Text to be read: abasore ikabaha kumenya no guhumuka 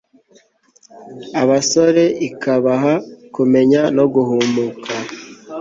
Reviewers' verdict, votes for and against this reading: accepted, 2, 0